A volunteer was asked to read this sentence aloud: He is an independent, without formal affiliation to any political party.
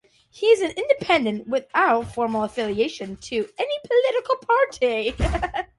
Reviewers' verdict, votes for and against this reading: rejected, 1, 2